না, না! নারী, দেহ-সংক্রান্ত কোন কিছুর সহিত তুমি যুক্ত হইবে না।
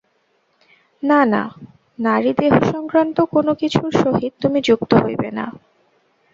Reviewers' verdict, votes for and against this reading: rejected, 0, 2